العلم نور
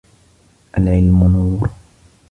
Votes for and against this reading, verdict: 2, 0, accepted